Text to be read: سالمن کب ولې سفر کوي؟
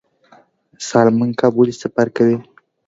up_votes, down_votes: 2, 0